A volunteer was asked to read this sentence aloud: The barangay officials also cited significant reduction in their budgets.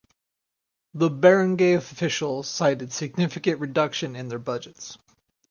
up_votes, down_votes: 0, 4